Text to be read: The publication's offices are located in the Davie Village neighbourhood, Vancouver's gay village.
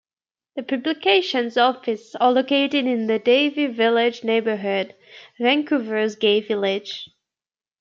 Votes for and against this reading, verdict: 2, 0, accepted